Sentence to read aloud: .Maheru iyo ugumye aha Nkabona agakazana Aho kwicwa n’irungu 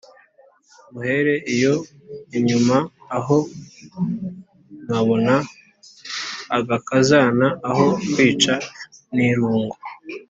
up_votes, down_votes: 0, 2